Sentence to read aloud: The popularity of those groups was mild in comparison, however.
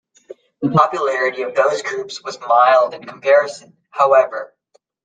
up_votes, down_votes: 2, 0